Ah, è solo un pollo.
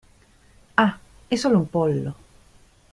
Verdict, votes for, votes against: accepted, 2, 1